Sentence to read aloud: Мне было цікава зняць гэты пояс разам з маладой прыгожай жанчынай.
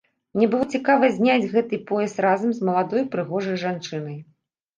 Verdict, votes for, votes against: accepted, 2, 0